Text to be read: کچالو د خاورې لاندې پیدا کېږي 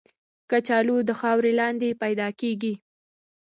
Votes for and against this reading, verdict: 1, 2, rejected